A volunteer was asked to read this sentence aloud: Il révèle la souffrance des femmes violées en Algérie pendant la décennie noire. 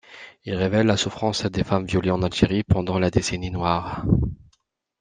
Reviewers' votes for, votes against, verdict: 2, 0, accepted